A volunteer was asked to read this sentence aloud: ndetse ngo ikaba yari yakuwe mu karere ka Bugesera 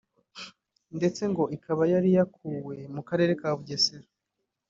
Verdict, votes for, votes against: accepted, 2, 1